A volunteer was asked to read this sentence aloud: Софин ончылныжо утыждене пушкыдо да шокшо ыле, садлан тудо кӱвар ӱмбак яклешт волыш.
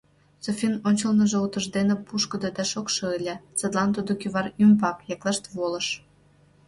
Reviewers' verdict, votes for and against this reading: accepted, 2, 0